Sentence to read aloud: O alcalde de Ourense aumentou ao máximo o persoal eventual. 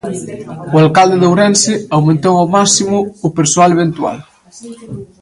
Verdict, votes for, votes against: rejected, 0, 2